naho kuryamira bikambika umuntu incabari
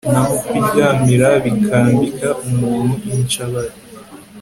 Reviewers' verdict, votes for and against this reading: accepted, 2, 0